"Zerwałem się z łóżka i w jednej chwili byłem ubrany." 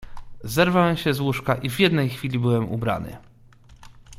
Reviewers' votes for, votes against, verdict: 2, 0, accepted